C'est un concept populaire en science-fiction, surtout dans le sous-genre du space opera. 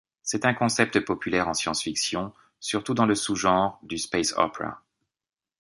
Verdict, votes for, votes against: rejected, 1, 2